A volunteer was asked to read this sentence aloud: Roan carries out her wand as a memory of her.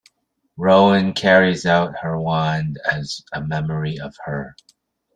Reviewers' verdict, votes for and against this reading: accepted, 2, 0